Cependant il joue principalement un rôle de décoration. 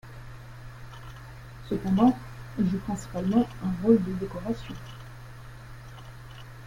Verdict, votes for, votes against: rejected, 0, 2